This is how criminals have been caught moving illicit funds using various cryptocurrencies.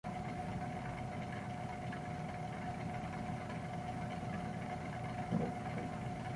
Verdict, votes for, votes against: rejected, 0, 2